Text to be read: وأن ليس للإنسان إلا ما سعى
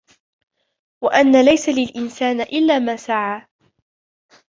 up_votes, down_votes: 0, 2